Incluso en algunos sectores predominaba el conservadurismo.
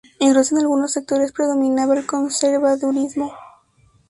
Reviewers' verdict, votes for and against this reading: accepted, 2, 0